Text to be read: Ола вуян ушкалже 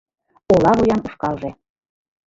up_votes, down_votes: 2, 1